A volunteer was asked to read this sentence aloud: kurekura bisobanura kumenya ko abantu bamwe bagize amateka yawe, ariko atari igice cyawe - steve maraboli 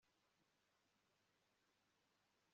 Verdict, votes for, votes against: rejected, 0, 2